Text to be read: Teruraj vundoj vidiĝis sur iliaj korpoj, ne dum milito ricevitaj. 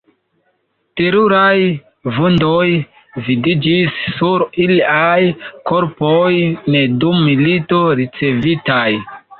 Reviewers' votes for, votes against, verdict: 0, 2, rejected